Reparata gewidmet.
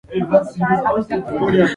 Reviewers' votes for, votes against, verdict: 0, 2, rejected